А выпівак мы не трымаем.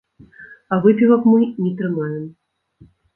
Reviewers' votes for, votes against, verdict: 0, 2, rejected